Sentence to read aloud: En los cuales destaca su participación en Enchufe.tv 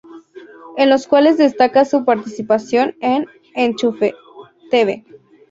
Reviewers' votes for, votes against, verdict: 0, 2, rejected